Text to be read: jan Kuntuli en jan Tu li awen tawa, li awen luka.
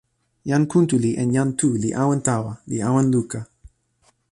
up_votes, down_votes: 2, 0